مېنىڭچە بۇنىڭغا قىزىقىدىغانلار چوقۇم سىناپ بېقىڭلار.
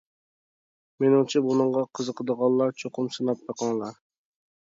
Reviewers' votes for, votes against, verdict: 2, 0, accepted